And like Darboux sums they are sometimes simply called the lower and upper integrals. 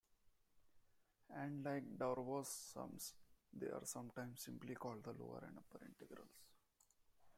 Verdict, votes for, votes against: rejected, 0, 2